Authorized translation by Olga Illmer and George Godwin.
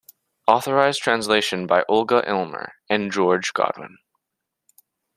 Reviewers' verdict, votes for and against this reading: accepted, 2, 0